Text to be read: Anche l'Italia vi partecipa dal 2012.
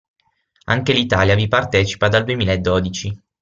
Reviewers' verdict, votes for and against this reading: rejected, 0, 2